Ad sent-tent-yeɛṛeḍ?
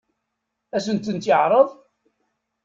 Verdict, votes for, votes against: accepted, 2, 0